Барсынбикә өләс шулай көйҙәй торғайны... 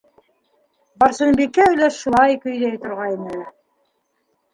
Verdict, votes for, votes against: accepted, 2, 1